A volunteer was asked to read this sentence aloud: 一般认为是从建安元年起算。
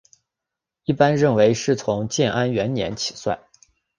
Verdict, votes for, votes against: accepted, 2, 0